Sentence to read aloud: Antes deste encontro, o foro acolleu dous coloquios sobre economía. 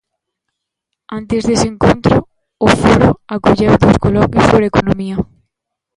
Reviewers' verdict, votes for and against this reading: rejected, 0, 2